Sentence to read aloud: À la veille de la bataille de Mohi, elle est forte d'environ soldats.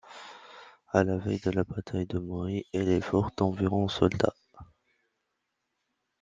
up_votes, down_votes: 2, 1